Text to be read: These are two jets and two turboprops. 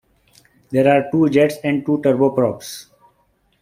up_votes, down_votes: 0, 2